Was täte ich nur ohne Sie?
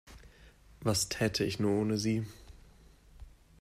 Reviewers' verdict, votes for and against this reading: accepted, 2, 0